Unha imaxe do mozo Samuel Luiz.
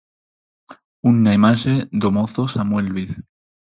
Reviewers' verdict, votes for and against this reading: rejected, 0, 4